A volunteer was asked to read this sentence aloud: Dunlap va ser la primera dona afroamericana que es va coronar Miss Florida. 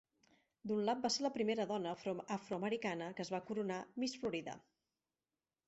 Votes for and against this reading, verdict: 1, 4, rejected